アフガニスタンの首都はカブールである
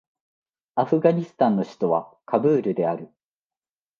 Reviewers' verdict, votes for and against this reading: accepted, 2, 0